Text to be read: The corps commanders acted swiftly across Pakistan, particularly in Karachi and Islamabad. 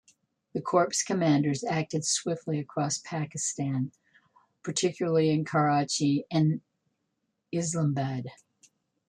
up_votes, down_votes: 1, 2